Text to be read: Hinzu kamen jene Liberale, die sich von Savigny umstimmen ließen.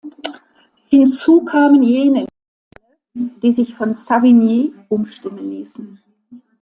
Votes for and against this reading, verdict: 0, 2, rejected